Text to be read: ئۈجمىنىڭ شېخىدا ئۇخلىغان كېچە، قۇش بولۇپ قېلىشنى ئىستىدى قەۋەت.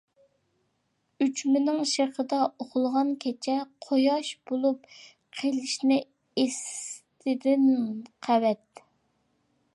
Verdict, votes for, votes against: rejected, 0, 2